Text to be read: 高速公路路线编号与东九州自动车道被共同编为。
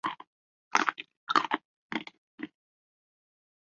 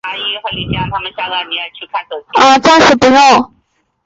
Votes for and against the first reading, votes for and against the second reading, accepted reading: 2, 1, 0, 3, first